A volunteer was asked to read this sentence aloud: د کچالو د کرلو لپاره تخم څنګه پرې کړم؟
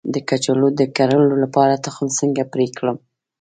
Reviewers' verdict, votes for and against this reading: rejected, 1, 2